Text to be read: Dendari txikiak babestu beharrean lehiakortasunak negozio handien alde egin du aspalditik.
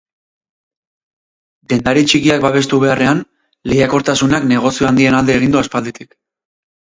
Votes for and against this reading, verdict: 4, 0, accepted